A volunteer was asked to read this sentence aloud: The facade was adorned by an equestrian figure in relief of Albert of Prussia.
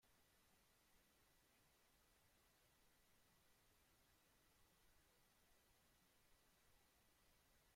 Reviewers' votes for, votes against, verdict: 0, 2, rejected